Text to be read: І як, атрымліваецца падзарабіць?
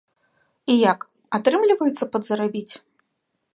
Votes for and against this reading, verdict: 2, 0, accepted